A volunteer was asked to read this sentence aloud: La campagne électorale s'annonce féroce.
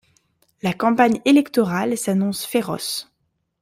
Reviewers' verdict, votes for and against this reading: accepted, 2, 0